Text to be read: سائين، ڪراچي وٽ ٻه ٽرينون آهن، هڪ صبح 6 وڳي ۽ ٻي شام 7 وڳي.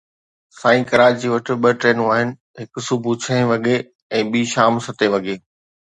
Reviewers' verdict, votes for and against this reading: rejected, 0, 2